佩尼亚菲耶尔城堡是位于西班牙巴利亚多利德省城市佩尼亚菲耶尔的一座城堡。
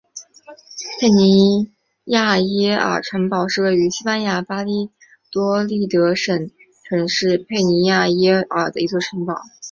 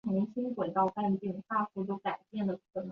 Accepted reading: first